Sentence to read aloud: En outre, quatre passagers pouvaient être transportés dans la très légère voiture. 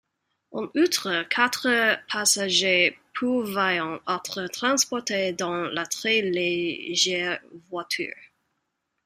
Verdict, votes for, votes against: rejected, 1, 4